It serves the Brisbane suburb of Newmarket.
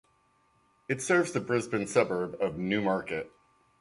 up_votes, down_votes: 2, 0